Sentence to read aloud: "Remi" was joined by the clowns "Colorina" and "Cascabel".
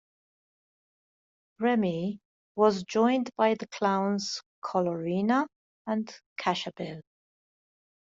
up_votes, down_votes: 2, 1